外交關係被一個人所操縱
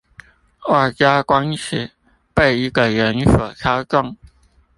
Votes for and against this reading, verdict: 0, 2, rejected